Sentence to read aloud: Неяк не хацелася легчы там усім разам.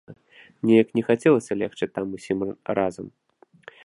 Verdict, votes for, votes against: rejected, 1, 2